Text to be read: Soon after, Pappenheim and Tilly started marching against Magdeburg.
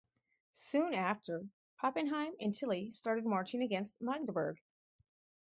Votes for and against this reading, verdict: 4, 2, accepted